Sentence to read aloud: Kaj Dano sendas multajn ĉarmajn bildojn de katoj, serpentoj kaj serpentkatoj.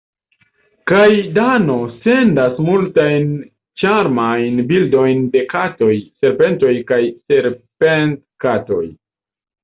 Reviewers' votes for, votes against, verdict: 0, 2, rejected